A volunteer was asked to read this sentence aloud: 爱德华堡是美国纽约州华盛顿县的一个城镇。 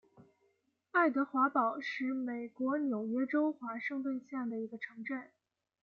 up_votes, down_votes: 2, 0